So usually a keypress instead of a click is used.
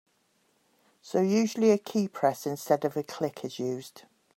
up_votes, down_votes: 2, 0